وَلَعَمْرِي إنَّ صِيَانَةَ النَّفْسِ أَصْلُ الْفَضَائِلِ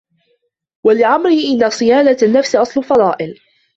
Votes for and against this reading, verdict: 0, 2, rejected